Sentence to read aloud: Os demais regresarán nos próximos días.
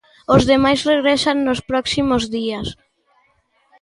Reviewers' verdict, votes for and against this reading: rejected, 0, 2